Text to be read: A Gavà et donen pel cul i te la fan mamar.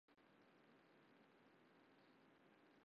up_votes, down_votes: 0, 4